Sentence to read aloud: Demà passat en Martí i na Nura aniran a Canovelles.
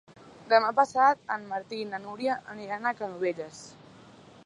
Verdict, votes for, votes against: rejected, 0, 2